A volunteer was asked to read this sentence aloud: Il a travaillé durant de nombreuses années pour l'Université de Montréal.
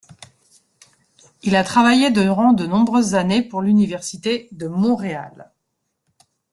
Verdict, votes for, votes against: rejected, 0, 2